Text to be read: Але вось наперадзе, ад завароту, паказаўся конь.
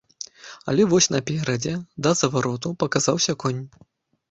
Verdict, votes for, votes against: rejected, 0, 2